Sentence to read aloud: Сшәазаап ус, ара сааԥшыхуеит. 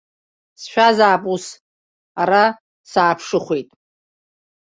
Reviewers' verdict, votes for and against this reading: rejected, 0, 2